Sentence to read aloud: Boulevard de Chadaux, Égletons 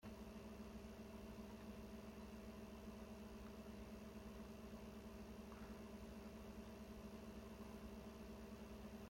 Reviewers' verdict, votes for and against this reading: rejected, 0, 2